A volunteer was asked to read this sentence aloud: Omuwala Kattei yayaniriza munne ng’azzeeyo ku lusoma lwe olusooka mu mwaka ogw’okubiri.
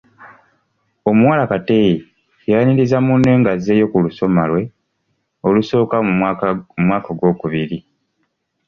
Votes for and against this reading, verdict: 2, 0, accepted